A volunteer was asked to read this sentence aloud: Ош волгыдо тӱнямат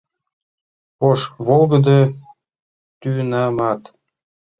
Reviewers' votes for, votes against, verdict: 0, 2, rejected